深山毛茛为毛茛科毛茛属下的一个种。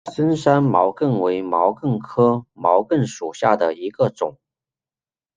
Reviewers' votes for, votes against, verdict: 1, 2, rejected